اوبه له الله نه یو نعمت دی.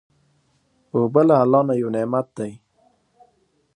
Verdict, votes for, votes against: accepted, 2, 0